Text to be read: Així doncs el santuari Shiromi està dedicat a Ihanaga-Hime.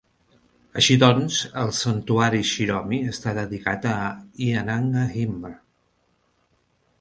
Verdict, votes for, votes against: rejected, 1, 2